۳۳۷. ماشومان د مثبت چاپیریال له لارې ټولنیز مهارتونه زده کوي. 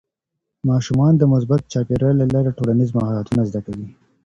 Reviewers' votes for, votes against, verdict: 0, 2, rejected